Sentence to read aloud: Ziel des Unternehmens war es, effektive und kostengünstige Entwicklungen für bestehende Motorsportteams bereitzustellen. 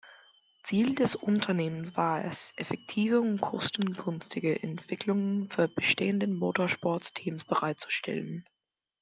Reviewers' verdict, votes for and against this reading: rejected, 0, 2